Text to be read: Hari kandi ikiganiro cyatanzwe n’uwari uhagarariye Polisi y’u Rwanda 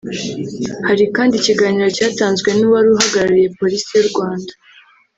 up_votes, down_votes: 2, 0